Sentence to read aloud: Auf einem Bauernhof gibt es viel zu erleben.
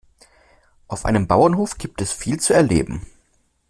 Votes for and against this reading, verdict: 2, 0, accepted